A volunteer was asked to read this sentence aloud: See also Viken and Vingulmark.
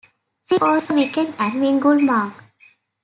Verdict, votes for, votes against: rejected, 0, 2